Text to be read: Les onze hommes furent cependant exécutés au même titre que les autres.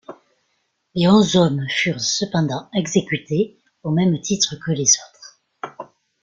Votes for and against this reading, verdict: 1, 2, rejected